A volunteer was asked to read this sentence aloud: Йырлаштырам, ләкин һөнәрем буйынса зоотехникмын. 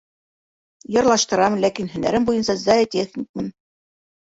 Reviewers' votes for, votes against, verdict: 2, 1, accepted